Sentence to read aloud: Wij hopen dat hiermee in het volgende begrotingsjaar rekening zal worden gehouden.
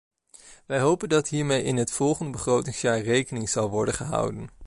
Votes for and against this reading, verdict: 2, 0, accepted